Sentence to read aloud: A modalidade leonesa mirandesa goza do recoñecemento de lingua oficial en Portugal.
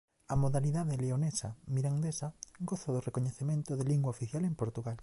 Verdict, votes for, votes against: rejected, 0, 2